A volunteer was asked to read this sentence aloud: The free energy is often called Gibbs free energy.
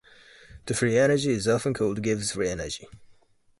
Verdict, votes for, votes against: accepted, 2, 0